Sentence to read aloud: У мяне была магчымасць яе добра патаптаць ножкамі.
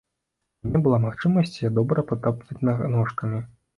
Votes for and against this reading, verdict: 1, 2, rejected